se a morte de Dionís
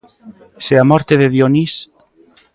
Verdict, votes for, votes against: accepted, 2, 0